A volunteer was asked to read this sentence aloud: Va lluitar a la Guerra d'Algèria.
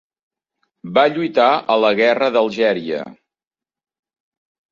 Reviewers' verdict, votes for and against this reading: accepted, 3, 0